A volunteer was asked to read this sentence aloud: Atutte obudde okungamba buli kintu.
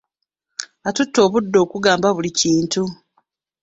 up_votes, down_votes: 2, 0